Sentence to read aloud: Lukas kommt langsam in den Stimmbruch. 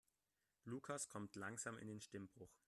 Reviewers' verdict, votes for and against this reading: rejected, 1, 2